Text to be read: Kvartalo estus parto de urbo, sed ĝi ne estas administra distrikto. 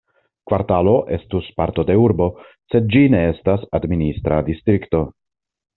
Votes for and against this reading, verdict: 2, 0, accepted